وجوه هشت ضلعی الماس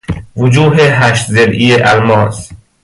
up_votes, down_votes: 2, 0